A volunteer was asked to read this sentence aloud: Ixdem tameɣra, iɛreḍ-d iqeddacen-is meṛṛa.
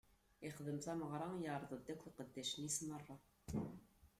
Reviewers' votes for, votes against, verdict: 1, 2, rejected